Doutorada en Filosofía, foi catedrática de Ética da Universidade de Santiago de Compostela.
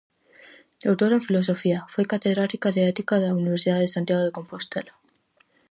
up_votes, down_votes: 2, 2